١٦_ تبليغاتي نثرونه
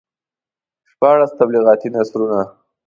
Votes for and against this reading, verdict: 0, 2, rejected